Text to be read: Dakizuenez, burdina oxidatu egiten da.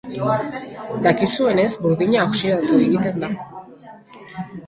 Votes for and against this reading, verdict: 3, 0, accepted